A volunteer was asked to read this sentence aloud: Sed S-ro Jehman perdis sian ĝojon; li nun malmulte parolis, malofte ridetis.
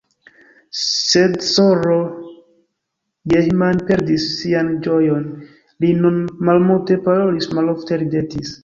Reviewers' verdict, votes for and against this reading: rejected, 1, 2